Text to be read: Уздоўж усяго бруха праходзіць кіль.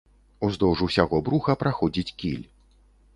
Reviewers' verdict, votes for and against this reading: accepted, 3, 0